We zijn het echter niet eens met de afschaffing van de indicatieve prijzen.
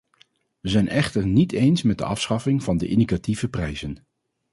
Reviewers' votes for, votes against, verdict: 0, 2, rejected